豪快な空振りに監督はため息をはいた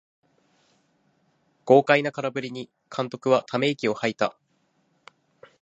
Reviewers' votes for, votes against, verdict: 2, 0, accepted